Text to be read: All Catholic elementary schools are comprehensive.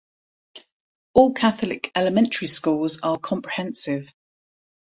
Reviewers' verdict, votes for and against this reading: accepted, 2, 0